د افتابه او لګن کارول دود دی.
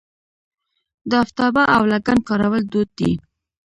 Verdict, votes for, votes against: rejected, 1, 2